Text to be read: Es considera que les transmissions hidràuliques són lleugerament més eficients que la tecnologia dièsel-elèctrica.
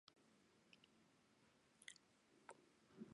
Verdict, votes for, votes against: rejected, 0, 2